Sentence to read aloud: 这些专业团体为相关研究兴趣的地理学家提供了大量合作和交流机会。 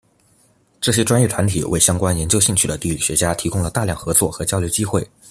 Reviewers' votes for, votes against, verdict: 1, 2, rejected